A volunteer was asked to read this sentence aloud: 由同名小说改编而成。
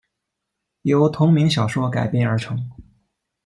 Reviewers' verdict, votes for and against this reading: accepted, 2, 0